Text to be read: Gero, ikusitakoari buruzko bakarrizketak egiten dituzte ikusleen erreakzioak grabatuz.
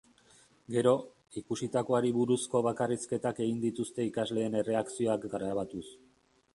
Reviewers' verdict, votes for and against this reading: rejected, 2, 2